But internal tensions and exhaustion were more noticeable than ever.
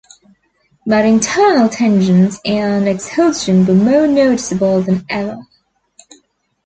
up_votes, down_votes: 1, 2